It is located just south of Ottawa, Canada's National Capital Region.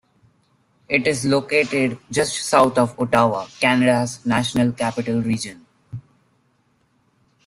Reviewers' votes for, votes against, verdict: 0, 2, rejected